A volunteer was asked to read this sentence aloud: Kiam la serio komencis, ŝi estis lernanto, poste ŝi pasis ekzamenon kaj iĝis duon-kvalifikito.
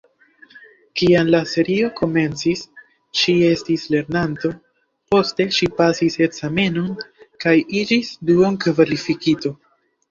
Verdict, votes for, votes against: rejected, 1, 2